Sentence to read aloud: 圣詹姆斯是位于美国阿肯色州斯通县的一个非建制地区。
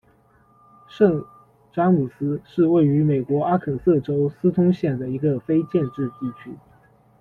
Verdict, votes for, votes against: accepted, 2, 0